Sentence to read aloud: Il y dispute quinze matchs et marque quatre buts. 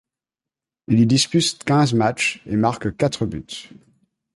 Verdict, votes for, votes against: rejected, 0, 2